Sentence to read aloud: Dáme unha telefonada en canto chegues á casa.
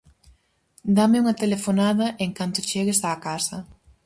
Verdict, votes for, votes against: accepted, 4, 0